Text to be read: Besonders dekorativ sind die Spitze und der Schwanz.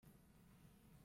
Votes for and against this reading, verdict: 0, 2, rejected